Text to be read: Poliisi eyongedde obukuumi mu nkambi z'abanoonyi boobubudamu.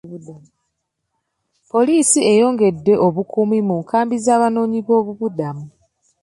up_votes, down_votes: 2, 0